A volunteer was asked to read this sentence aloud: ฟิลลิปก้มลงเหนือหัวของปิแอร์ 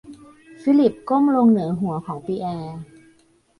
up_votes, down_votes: 0, 2